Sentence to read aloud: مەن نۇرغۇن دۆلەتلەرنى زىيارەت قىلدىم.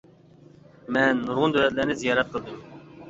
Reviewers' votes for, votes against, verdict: 2, 0, accepted